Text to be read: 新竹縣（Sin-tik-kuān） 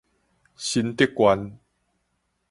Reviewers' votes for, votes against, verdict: 4, 0, accepted